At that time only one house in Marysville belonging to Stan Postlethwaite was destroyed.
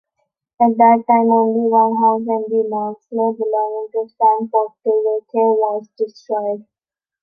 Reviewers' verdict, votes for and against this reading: rejected, 0, 2